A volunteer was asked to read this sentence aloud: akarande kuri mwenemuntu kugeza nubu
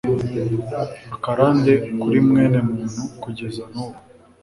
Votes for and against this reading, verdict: 2, 1, accepted